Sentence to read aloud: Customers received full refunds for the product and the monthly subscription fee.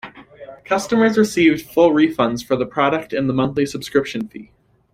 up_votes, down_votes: 2, 0